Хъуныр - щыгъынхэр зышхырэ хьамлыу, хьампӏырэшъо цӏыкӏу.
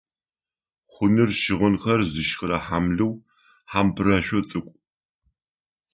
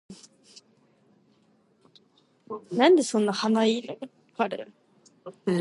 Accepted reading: first